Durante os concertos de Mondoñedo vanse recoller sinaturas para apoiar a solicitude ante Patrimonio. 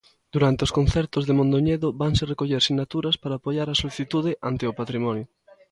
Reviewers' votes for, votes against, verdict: 0, 2, rejected